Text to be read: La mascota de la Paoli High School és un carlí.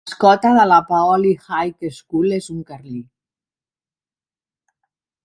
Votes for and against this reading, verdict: 0, 2, rejected